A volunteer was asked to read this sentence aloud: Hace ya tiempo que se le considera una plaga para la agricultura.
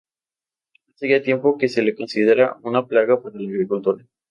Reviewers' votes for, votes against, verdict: 2, 2, rejected